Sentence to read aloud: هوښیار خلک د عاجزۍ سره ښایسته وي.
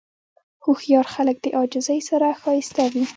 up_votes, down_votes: 0, 2